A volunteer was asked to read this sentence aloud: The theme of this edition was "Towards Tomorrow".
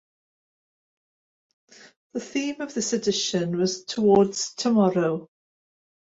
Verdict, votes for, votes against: accepted, 2, 0